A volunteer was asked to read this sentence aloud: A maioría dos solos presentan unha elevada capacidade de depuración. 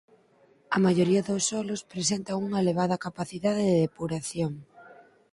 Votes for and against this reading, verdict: 4, 0, accepted